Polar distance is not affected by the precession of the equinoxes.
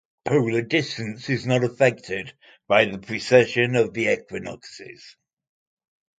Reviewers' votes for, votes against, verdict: 2, 0, accepted